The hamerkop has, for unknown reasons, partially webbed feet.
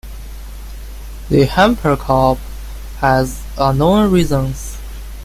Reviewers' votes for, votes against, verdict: 0, 2, rejected